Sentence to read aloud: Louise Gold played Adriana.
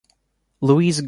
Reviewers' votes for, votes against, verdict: 1, 2, rejected